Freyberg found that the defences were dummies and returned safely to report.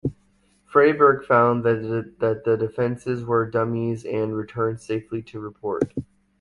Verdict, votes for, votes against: rejected, 1, 2